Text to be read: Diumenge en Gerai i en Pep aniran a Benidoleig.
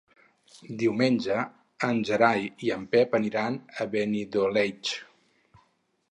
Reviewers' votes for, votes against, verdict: 4, 0, accepted